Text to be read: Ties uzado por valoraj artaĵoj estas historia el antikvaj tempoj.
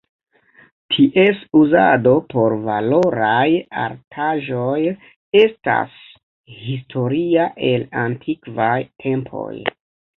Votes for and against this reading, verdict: 2, 1, accepted